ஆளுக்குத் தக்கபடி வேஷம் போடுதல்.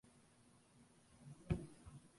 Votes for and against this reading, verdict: 0, 2, rejected